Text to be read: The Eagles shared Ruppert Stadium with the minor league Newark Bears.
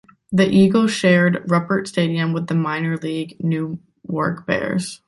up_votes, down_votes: 1, 2